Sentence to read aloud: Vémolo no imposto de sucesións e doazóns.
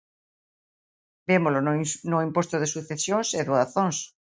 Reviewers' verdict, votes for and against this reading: rejected, 1, 2